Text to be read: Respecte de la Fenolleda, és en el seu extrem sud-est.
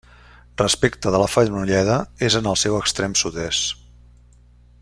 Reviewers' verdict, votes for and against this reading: accepted, 2, 0